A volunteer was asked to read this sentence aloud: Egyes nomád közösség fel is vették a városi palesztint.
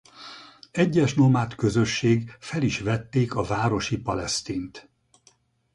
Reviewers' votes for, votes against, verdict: 0, 2, rejected